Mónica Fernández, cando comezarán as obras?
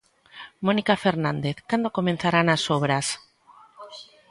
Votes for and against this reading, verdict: 1, 2, rejected